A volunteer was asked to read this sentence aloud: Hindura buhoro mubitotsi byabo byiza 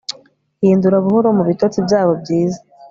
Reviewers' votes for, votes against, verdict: 3, 0, accepted